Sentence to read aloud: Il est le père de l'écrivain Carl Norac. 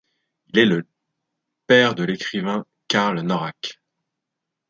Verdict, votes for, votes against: rejected, 0, 2